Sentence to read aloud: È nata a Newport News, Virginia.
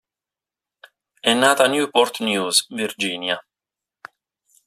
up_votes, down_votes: 2, 0